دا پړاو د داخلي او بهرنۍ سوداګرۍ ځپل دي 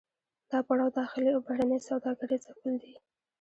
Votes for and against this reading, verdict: 2, 0, accepted